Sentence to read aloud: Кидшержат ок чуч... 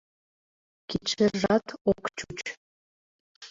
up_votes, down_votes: 0, 2